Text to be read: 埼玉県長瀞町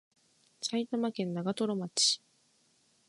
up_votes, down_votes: 6, 0